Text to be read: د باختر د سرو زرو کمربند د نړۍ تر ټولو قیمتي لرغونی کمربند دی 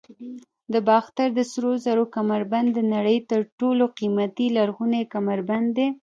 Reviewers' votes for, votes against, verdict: 0, 2, rejected